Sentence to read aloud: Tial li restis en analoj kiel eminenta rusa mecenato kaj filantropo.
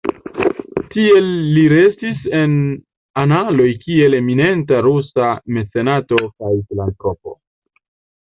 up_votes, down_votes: 0, 2